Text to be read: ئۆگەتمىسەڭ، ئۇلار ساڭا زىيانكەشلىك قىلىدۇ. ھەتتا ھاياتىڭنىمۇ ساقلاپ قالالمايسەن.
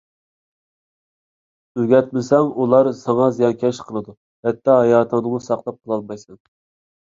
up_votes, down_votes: 2, 1